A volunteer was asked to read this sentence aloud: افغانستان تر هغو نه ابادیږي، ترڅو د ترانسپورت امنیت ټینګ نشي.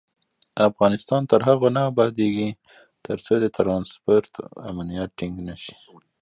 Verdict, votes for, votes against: accepted, 2, 0